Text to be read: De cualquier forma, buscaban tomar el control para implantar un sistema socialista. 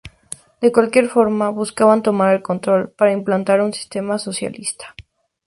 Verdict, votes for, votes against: accepted, 2, 0